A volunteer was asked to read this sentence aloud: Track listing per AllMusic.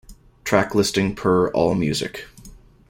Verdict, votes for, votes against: accepted, 2, 0